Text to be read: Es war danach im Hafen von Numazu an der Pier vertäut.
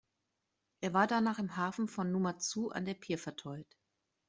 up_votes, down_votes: 0, 2